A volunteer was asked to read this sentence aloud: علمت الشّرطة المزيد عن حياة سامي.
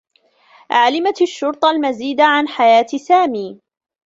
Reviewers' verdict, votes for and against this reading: rejected, 1, 2